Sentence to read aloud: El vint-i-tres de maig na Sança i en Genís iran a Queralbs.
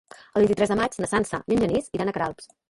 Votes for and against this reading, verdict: 2, 3, rejected